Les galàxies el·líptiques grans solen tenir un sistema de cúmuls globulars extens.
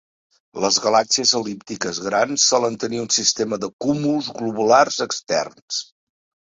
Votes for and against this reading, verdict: 0, 2, rejected